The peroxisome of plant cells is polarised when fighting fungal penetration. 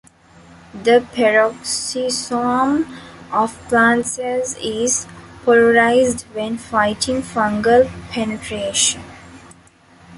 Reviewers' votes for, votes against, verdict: 2, 0, accepted